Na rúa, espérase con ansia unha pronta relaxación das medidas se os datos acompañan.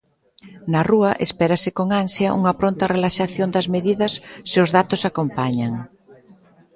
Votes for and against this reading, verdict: 2, 0, accepted